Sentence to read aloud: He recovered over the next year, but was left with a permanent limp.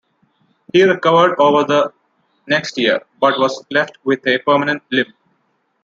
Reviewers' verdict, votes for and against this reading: accepted, 2, 0